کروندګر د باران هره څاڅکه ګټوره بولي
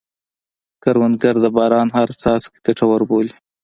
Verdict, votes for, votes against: accepted, 2, 0